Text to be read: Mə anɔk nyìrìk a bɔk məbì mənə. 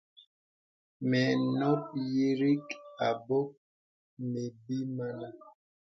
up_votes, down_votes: 0, 2